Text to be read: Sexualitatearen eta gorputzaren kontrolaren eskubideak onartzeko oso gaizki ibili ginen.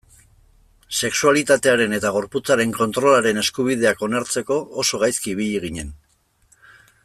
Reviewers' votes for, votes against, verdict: 2, 1, accepted